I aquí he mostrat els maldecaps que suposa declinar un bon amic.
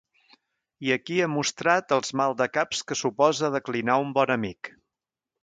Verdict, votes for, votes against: accepted, 2, 0